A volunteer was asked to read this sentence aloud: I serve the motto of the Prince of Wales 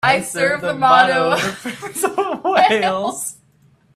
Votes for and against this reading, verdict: 1, 2, rejected